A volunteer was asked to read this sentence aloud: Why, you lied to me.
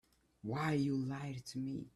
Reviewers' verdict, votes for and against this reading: rejected, 1, 2